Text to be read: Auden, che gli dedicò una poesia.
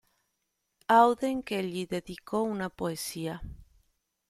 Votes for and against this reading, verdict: 2, 0, accepted